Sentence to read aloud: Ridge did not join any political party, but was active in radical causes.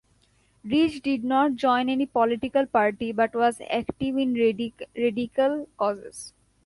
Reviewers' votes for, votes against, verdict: 0, 2, rejected